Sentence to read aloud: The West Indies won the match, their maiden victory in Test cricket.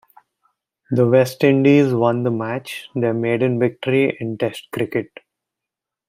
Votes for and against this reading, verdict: 2, 0, accepted